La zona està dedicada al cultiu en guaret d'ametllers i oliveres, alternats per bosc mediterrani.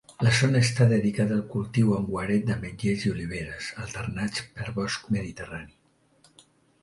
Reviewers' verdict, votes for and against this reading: accepted, 2, 0